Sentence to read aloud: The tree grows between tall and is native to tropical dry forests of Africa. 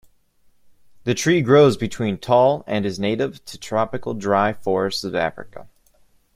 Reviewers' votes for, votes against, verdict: 1, 2, rejected